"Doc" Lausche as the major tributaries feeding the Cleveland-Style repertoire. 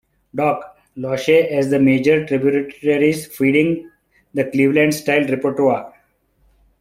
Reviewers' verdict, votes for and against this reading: rejected, 1, 2